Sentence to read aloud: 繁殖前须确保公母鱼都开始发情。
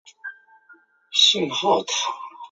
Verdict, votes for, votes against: rejected, 1, 2